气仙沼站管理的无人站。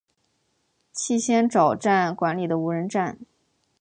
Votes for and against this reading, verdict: 2, 0, accepted